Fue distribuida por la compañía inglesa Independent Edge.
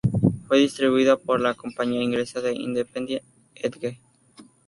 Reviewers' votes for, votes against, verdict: 4, 0, accepted